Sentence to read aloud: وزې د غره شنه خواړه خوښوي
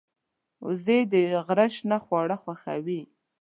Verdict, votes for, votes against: accepted, 2, 0